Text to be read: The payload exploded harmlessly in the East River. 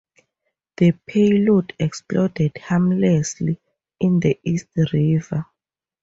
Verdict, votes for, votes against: accepted, 2, 0